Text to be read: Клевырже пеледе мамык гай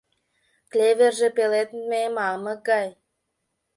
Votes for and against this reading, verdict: 1, 2, rejected